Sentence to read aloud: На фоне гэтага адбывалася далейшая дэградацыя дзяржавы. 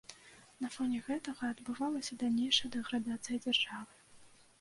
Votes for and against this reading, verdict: 1, 2, rejected